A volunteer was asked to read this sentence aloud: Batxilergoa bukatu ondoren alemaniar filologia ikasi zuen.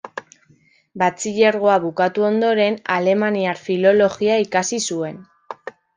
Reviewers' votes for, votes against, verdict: 2, 0, accepted